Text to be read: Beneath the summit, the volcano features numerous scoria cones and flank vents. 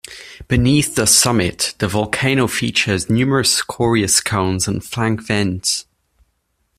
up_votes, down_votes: 1, 2